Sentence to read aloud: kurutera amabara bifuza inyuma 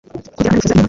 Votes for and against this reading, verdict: 2, 1, accepted